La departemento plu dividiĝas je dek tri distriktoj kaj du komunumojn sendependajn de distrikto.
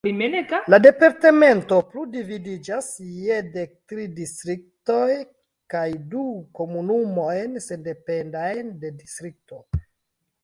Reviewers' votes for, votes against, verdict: 1, 2, rejected